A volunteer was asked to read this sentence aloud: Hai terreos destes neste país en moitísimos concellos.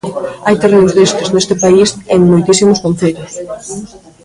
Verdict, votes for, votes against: rejected, 0, 2